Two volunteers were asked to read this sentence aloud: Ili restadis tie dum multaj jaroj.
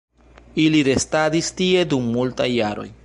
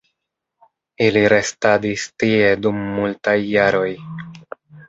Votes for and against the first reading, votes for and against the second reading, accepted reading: 0, 2, 2, 1, second